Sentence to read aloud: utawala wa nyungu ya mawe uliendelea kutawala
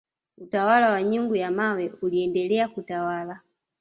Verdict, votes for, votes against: accepted, 2, 0